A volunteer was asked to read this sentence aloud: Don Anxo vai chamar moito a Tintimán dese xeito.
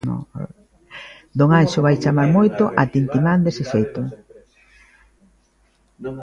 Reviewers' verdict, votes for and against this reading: rejected, 0, 2